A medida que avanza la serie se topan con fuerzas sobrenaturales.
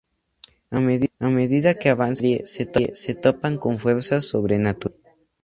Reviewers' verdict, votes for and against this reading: rejected, 0, 4